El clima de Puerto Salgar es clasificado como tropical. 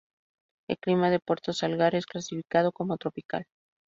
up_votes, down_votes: 2, 0